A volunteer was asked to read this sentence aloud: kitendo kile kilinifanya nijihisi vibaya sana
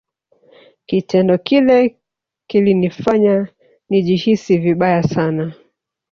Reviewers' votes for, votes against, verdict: 1, 2, rejected